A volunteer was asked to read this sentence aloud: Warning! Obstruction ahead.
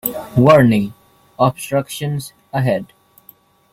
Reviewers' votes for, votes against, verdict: 0, 2, rejected